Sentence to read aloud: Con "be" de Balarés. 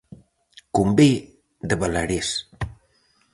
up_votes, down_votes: 4, 0